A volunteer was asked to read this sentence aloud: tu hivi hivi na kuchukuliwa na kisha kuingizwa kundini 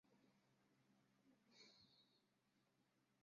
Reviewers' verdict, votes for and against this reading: rejected, 0, 2